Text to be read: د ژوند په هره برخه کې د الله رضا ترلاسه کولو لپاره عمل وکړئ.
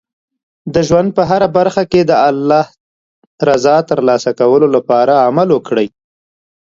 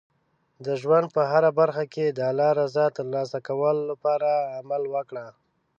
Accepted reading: first